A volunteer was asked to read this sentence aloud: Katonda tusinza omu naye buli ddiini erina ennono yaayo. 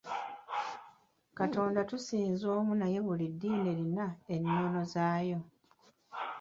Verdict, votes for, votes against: rejected, 1, 2